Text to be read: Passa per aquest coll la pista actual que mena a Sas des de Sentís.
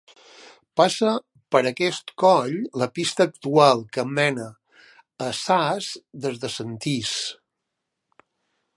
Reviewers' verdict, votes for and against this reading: accepted, 2, 0